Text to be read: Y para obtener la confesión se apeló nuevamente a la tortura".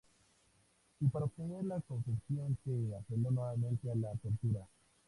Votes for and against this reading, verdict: 2, 0, accepted